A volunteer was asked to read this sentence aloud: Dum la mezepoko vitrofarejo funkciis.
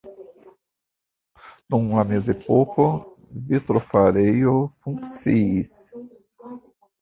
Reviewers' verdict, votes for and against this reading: rejected, 1, 2